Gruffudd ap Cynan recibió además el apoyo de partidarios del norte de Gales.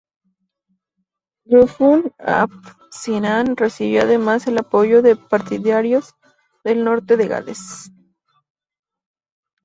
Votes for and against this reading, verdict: 0, 4, rejected